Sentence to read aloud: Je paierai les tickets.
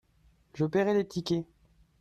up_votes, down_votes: 2, 0